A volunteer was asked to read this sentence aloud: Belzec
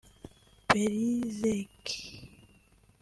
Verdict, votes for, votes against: accepted, 2, 0